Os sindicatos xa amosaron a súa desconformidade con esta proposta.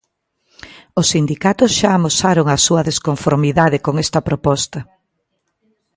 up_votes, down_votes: 2, 0